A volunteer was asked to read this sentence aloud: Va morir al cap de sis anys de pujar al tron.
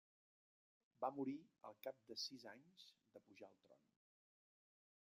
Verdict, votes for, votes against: rejected, 1, 2